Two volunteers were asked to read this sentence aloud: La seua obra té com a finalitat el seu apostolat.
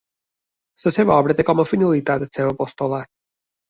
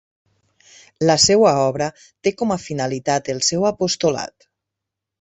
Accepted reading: second